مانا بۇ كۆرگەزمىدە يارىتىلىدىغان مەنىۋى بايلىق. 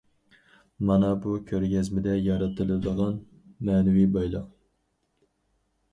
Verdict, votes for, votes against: accepted, 4, 0